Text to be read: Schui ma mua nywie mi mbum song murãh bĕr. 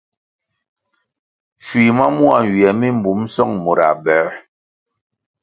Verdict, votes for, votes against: accepted, 2, 0